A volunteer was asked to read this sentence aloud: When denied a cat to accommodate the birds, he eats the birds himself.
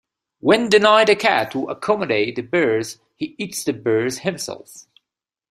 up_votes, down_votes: 2, 0